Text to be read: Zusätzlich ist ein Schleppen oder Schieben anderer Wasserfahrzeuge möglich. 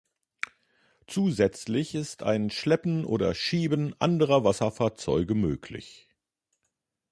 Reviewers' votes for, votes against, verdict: 2, 0, accepted